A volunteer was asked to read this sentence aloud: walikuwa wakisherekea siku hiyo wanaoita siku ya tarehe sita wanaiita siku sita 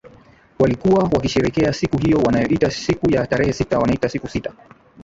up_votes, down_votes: 5, 1